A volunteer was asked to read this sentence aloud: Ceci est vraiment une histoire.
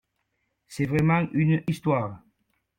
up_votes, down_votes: 0, 2